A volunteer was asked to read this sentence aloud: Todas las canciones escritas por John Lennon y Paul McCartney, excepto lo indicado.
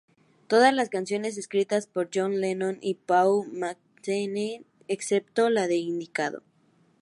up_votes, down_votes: 0, 2